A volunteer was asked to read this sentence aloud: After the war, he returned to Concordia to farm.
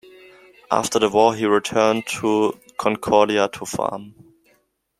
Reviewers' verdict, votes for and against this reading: accepted, 2, 0